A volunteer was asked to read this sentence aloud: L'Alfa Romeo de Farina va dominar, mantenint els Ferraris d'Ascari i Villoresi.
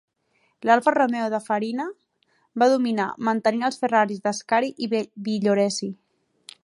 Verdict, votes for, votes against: rejected, 2, 4